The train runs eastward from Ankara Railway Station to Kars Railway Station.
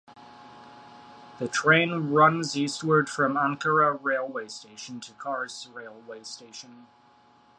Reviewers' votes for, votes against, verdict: 2, 0, accepted